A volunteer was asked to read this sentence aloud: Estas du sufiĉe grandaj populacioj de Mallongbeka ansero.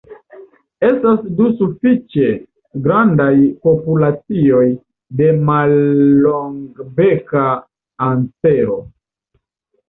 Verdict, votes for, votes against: rejected, 1, 2